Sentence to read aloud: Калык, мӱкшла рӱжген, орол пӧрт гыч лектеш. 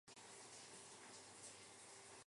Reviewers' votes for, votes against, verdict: 0, 2, rejected